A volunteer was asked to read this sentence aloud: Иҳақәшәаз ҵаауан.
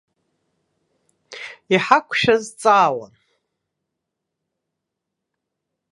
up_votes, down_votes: 0, 2